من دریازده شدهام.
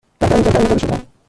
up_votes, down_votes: 1, 2